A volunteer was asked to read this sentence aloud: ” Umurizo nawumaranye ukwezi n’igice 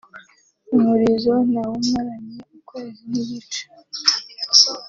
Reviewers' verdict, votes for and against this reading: accepted, 2, 0